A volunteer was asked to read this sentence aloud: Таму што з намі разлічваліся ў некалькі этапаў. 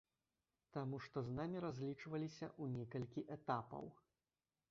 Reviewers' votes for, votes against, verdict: 0, 2, rejected